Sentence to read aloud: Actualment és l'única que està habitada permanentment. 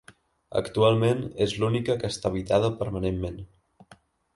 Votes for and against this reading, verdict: 3, 0, accepted